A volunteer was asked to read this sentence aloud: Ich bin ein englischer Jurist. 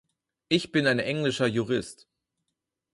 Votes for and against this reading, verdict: 4, 0, accepted